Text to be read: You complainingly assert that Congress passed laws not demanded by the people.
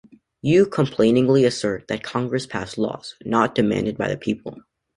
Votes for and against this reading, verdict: 2, 0, accepted